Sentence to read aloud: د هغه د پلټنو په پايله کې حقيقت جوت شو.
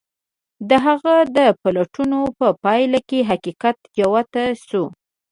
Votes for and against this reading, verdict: 3, 0, accepted